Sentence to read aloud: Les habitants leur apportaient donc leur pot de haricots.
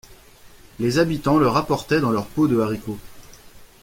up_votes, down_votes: 1, 2